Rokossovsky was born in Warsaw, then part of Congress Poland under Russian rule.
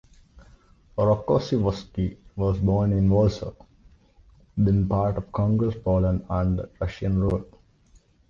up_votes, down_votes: 2, 1